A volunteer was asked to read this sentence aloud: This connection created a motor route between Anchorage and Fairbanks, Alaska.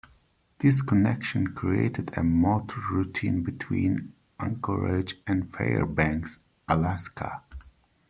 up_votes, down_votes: 1, 2